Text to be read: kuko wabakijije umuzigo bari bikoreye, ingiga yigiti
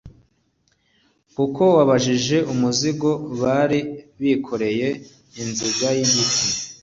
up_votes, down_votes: 2, 0